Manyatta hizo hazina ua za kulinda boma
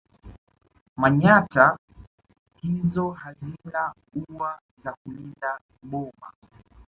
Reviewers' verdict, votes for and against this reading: accepted, 2, 0